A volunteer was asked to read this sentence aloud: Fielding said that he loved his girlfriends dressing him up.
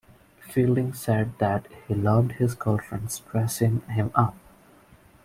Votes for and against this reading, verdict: 2, 0, accepted